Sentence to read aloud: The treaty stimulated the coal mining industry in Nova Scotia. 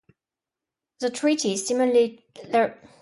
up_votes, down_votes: 0, 2